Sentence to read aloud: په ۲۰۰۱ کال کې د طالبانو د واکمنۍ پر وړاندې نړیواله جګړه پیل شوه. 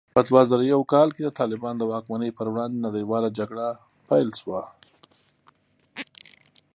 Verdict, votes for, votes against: rejected, 0, 2